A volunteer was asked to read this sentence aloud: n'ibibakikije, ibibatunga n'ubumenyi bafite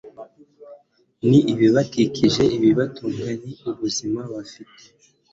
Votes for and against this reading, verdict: 2, 0, accepted